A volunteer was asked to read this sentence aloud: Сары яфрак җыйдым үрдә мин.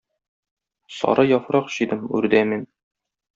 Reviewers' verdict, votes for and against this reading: rejected, 0, 2